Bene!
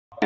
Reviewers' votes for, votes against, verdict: 0, 2, rejected